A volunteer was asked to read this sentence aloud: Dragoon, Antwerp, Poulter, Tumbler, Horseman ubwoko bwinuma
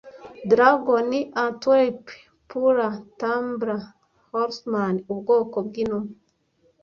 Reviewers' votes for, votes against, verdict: 0, 2, rejected